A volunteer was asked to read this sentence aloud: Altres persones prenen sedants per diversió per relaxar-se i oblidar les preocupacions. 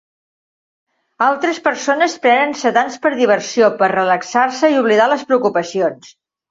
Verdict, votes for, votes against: accepted, 4, 1